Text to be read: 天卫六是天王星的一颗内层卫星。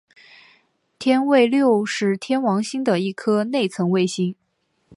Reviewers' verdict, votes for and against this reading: accepted, 2, 1